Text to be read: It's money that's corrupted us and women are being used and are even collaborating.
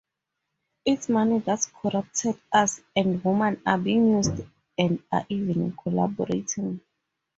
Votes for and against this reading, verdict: 4, 2, accepted